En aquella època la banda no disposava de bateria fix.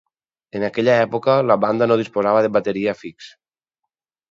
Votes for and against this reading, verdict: 4, 0, accepted